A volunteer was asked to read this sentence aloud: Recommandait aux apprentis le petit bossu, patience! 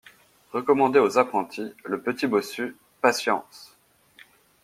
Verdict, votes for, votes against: accepted, 2, 0